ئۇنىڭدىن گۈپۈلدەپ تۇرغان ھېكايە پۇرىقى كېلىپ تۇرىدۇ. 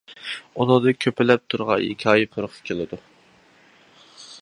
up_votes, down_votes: 0, 2